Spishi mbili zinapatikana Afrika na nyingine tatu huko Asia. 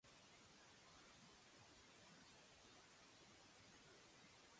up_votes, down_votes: 0, 2